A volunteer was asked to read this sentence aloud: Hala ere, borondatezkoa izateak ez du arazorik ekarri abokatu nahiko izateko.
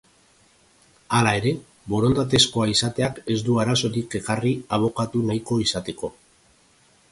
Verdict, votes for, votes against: accepted, 2, 0